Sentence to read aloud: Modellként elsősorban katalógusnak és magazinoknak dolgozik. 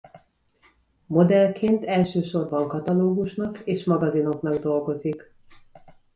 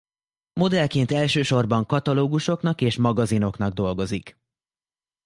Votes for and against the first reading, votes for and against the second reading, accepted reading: 2, 0, 0, 2, first